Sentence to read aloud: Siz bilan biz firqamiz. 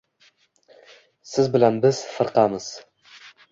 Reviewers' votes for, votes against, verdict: 2, 0, accepted